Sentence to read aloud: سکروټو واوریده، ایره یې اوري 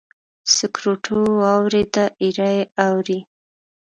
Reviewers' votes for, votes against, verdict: 0, 2, rejected